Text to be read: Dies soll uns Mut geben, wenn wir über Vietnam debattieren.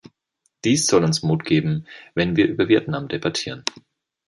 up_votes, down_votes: 3, 0